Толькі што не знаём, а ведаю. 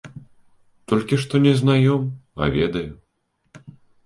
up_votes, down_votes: 2, 0